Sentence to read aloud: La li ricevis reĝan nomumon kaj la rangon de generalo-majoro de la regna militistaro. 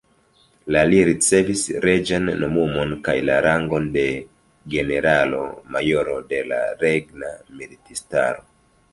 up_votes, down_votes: 2, 0